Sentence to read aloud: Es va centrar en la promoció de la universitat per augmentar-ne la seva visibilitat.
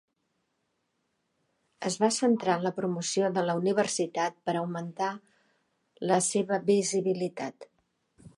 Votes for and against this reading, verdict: 1, 3, rejected